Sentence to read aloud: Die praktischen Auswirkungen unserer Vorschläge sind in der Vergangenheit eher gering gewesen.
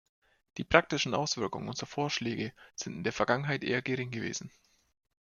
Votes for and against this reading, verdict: 2, 0, accepted